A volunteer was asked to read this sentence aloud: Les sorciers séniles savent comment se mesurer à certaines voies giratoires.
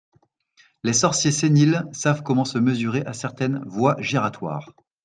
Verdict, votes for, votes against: accepted, 2, 0